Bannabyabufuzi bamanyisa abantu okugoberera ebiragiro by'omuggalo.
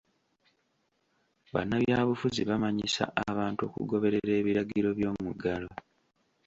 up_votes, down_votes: 2, 0